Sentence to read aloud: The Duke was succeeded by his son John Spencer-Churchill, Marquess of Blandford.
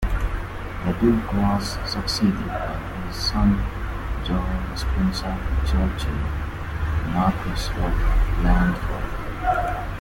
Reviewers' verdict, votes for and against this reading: rejected, 1, 2